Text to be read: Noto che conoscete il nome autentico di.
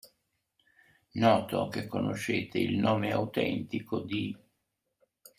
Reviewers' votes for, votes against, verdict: 2, 0, accepted